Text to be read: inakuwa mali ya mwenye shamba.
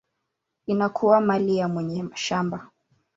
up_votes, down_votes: 2, 0